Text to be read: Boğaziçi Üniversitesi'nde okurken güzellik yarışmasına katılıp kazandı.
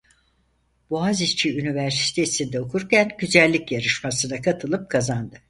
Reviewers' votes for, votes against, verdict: 4, 0, accepted